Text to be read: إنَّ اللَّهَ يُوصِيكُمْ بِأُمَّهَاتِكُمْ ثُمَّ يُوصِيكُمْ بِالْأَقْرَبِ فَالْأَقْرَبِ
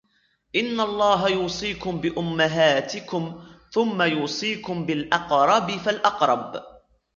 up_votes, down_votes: 2, 0